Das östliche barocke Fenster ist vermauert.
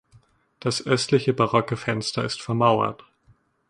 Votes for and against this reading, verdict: 2, 0, accepted